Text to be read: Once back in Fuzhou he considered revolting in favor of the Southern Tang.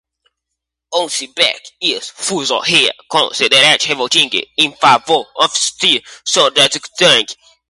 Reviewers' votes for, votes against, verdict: 0, 2, rejected